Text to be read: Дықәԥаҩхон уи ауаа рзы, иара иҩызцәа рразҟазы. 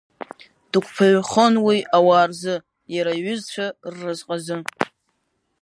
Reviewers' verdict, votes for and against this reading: accepted, 4, 1